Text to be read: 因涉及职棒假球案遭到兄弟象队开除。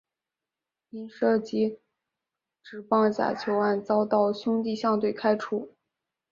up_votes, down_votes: 3, 0